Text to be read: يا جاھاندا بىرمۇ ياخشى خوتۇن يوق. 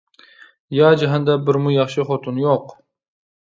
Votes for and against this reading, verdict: 2, 0, accepted